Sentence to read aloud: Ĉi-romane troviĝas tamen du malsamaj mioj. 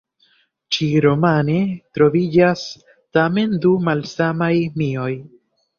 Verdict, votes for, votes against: accepted, 2, 0